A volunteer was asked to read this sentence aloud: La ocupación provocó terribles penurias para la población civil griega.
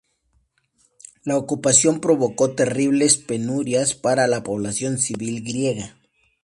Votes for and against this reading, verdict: 2, 0, accepted